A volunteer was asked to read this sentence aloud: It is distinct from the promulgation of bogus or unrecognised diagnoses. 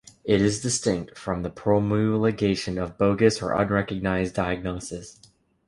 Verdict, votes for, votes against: accepted, 2, 0